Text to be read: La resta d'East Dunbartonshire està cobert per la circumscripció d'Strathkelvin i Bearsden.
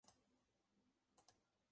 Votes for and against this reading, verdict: 1, 2, rejected